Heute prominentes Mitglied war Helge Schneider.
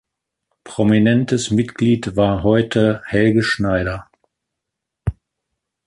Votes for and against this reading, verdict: 0, 2, rejected